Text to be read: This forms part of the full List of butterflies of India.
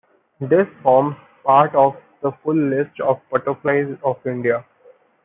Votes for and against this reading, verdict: 1, 2, rejected